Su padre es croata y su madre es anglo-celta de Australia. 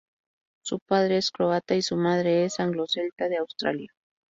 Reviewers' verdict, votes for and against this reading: accepted, 2, 0